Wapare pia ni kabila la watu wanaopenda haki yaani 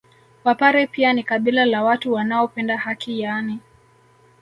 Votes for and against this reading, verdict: 2, 0, accepted